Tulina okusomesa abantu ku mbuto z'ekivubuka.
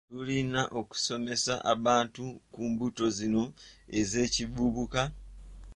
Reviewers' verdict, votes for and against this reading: rejected, 1, 2